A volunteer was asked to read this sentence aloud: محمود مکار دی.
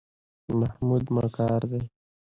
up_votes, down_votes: 2, 0